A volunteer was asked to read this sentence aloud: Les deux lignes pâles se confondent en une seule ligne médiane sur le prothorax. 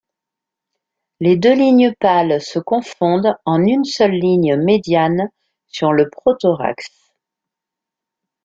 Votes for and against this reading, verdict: 2, 0, accepted